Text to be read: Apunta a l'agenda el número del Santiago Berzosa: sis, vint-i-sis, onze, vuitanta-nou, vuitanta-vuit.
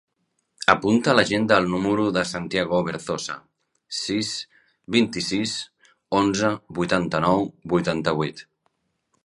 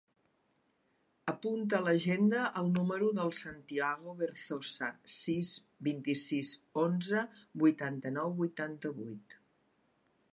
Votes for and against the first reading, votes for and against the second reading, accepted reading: 1, 2, 3, 1, second